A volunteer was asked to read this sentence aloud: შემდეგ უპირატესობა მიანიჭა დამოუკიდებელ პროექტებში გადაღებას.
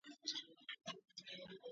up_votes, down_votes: 2, 1